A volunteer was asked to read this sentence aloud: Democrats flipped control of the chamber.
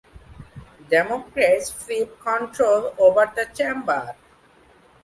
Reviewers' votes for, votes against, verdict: 0, 2, rejected